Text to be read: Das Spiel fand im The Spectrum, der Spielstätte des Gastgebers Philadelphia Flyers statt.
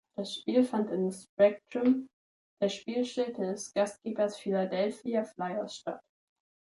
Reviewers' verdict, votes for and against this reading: rejected, 1, 3